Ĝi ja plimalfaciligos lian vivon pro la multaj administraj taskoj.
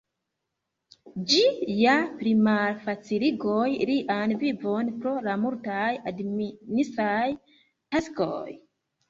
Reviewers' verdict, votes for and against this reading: rejected, 0, 2